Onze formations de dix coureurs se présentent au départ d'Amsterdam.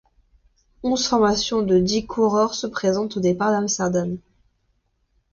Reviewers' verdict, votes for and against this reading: rejected, 1, 2